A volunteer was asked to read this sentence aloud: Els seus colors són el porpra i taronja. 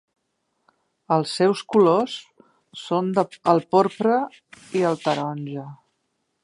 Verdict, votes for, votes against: rejected, 0, 3